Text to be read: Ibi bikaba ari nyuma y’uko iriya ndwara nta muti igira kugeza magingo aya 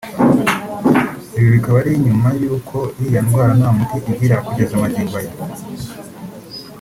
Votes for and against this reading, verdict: 3, 2, accepted